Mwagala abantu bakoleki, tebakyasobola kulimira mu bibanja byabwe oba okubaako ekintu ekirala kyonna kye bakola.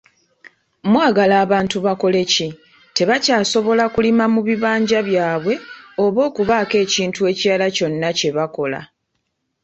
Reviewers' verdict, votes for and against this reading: rejected, 1, 2